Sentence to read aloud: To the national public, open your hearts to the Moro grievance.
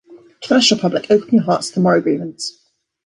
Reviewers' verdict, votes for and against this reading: rejected, 1, 2